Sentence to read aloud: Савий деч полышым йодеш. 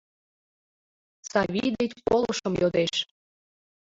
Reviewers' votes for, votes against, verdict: 0, 2, rejected